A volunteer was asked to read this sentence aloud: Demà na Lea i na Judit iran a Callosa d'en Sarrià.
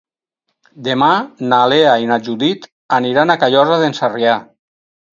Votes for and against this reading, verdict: 0, 4, rejected